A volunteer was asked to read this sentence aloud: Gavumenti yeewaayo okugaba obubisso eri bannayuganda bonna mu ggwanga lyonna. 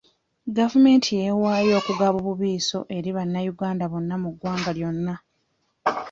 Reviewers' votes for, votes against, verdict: 0, 2, rejected